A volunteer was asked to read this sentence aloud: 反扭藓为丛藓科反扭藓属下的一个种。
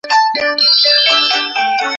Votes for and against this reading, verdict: 0, 2, rejected